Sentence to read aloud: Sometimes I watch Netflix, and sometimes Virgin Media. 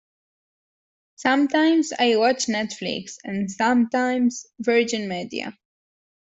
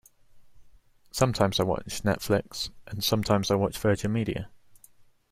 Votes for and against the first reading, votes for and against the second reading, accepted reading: 2, 1, 0, 2, first